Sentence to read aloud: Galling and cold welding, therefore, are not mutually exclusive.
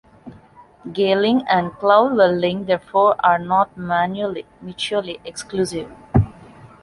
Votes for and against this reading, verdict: 0, 2, rejected